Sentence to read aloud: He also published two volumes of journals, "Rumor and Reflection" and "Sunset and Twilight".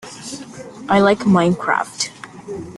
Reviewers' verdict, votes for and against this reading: rejected, 0, 2